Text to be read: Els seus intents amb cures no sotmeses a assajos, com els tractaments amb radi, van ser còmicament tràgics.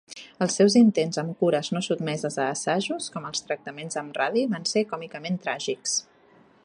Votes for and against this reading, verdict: 3, 0, accepted